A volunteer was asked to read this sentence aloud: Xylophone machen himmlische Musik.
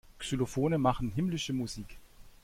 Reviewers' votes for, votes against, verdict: 2, 0, accepted